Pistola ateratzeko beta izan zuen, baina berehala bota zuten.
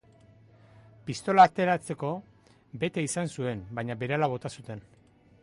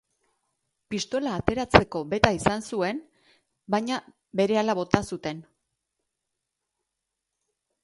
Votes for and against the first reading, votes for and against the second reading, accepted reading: 2, 0, 0, 2, first